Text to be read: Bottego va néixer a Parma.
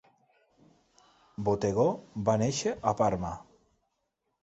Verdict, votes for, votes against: accepted, 2, 0